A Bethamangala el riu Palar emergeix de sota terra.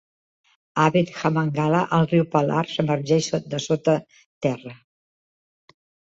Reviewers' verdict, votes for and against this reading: rejected, 1, 2